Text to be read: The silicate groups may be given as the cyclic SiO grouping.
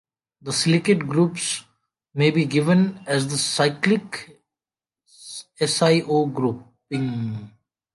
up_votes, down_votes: 2, 0